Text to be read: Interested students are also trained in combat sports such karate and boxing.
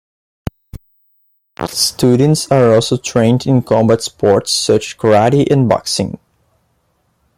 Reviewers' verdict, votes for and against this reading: rejected, 1, 2